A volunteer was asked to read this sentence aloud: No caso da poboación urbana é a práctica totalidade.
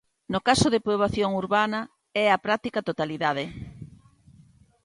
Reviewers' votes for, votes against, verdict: 0, 2, rejected